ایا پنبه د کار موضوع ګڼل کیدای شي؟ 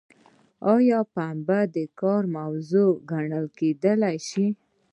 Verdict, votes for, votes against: accepted, 2, 0